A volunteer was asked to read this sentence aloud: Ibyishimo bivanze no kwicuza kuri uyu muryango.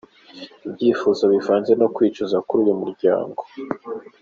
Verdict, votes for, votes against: accepted, 2, 0